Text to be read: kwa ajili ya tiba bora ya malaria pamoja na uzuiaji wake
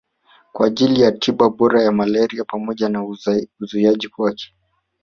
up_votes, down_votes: 1, 2